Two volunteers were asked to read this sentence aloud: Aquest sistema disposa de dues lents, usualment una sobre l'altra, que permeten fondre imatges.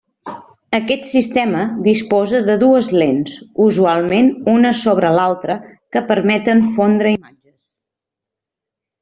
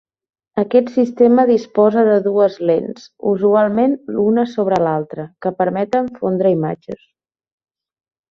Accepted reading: second